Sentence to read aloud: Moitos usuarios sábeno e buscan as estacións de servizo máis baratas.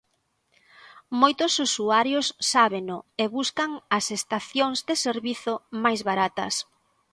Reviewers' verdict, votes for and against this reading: accepted, 2, 0